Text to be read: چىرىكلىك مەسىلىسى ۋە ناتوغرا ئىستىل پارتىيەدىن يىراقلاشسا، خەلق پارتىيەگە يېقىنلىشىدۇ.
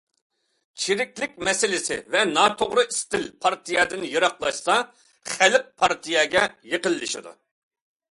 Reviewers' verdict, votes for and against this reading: accepted, 2, 0